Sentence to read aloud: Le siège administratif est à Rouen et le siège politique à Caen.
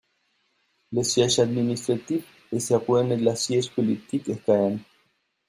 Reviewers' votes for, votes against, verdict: 0, 2, rejected